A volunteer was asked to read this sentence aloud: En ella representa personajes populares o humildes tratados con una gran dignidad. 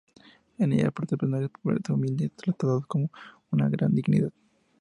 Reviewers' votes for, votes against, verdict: 0, 2, rejected